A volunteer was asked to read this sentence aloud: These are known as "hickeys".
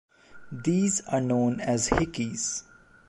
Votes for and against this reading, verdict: 2, 0, accepted